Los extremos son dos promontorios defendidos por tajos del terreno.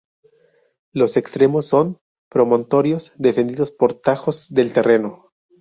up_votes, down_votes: 0, 2